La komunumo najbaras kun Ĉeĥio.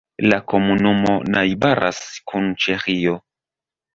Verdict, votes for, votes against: accepted, 2, 0